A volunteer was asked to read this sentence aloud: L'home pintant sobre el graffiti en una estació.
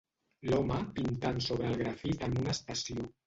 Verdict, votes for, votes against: rejected, 0, 2